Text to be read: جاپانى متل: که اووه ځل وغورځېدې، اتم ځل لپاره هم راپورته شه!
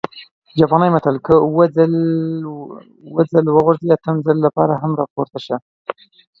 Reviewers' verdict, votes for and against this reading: accepted, 2, 1